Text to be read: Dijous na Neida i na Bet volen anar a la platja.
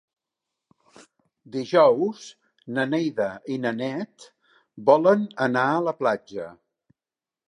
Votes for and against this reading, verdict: 1, 2, rejected